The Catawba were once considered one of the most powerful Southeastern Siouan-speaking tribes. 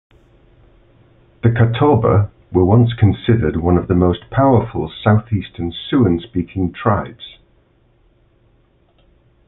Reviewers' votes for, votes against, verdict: 2, 0, accepted